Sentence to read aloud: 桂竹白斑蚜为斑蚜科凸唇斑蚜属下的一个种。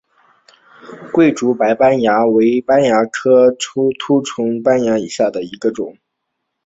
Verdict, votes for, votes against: accepted, 2, 1